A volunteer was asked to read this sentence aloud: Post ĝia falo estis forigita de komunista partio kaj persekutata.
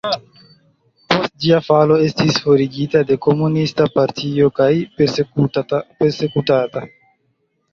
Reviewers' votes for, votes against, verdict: 0, 3, rejected